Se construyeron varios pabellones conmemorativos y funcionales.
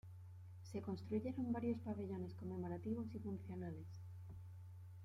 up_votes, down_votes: 1, 2